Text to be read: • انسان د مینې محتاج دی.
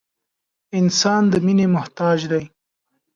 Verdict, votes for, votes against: accepted, 2, 0